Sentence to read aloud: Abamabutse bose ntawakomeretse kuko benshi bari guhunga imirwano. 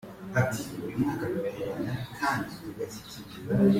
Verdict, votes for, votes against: rejected, 0, 2